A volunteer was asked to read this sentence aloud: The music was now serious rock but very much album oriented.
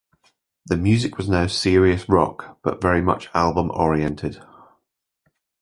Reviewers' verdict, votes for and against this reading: accepted, 2, 0